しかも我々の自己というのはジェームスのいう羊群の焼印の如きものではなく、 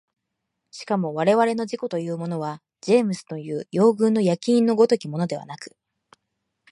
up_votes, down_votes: 2, 0